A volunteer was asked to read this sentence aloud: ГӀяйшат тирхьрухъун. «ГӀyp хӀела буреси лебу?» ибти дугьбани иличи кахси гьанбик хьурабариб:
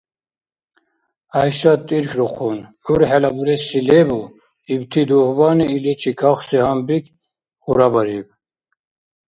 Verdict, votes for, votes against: accepted, 2, 1